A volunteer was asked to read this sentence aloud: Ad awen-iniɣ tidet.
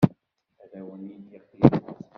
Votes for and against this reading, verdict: 1, 2, rejected